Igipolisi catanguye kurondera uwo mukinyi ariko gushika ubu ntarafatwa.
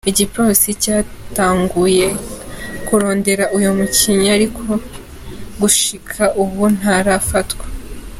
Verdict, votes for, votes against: rejected, 1, 2